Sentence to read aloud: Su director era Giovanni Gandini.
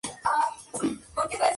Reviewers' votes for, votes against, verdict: 0, 2, rejected